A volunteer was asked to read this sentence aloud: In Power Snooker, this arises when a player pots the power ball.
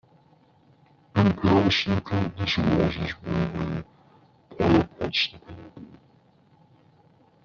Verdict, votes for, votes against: rejected, 0, 2